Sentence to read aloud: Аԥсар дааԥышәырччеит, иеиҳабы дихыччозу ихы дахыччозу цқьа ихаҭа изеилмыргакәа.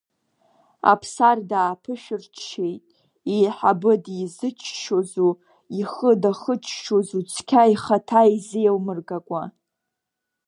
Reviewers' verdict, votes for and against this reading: rejected, 0, 2